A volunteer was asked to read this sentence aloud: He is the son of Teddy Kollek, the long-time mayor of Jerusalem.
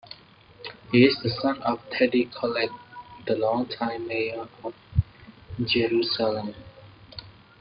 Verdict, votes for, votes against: accepted, 2, 0